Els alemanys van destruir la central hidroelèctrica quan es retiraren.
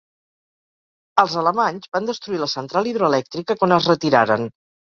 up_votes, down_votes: 4, 0